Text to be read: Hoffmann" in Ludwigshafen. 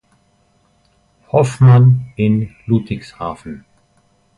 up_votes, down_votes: 2, 1